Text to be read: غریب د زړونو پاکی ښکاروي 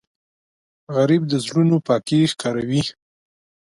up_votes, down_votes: 4, 0